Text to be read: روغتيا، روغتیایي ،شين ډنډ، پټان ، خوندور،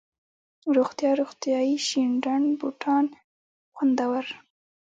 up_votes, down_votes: 1, 2